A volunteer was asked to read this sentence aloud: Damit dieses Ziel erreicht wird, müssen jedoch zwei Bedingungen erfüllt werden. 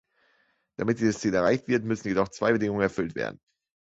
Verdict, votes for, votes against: accepted, 2, 1